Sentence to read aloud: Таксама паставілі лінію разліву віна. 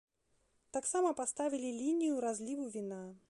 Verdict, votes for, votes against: accepted, 2, 0